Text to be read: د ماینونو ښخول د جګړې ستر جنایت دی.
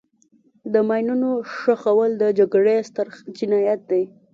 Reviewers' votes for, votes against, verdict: 2, 0, accepted